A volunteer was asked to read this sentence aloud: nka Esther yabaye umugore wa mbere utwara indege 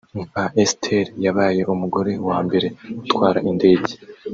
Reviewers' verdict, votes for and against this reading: rejected, 1, 2